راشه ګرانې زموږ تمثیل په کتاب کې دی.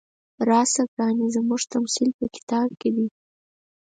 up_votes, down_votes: 4, 0